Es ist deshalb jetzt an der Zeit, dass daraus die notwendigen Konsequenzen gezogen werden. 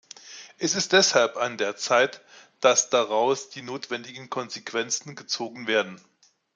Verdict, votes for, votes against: rejected, 1, 2